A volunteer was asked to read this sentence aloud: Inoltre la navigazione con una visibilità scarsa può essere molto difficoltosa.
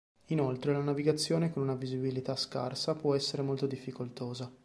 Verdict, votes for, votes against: accepted, 2, 0